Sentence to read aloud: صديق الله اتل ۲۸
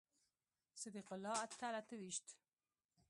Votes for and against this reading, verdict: 0, 2, rejected